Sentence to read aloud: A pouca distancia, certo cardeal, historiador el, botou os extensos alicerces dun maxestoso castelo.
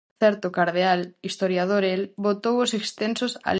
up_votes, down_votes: 0, 4